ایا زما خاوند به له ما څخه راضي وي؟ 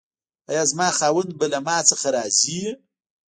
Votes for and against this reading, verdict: 0, 2, rejected